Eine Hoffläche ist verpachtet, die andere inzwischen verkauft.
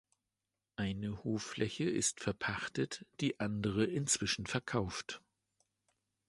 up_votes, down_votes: 2, 0